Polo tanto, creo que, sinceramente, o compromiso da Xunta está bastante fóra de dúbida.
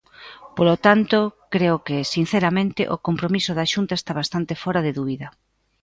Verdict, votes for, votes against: accepted, 2, 0